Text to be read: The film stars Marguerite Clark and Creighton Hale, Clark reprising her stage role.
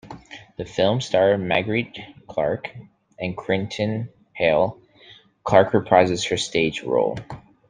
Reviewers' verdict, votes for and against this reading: rejected, 1, 2